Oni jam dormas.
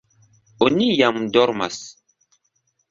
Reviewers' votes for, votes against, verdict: 2, 1, accepted